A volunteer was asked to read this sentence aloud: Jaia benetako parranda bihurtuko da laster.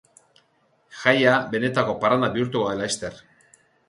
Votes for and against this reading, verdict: 2, 2, rejected